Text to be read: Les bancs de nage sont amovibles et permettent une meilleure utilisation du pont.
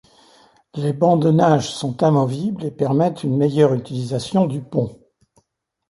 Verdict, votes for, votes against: accepted, 2, 0